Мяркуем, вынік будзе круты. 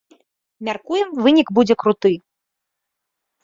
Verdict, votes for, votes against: accepted, 2, 0